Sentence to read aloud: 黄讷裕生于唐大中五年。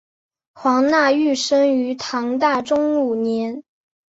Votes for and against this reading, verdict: 2, 0, accepted